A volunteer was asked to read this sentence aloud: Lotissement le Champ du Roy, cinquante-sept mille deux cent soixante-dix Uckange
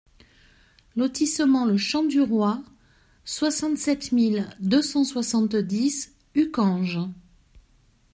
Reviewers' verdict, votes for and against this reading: rejected, 0, 2